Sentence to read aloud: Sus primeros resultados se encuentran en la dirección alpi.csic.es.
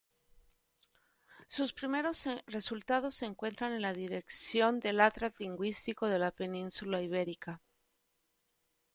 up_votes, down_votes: 1, 2